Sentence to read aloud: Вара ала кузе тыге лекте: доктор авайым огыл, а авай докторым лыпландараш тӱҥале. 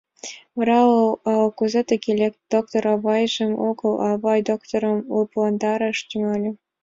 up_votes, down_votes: 1, 5